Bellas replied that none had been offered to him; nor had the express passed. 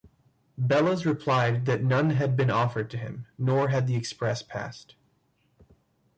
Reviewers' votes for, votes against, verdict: 2, 1, accepted